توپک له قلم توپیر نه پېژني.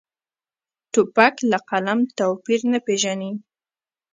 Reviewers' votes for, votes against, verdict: 1, 2, rejected